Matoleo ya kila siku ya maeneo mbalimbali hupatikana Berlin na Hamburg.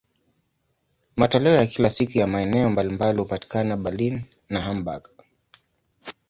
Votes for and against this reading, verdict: 2, 0, accepted